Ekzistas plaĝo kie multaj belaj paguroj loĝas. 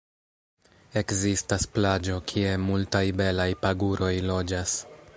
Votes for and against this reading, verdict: 3, 1, accepted